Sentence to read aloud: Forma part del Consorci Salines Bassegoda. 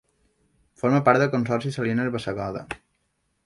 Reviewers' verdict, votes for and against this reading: rejected, 0, 2